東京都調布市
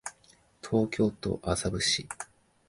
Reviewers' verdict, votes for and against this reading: rejected, 0, 2